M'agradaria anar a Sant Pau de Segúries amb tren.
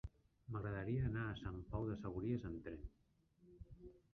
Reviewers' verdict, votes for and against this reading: rejected, 1, 2